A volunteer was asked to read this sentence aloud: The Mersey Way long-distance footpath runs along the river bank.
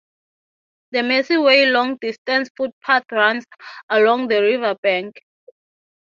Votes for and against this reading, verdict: 0, 3, rejected